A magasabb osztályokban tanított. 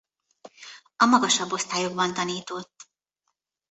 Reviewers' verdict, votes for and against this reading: rejected, 0, 2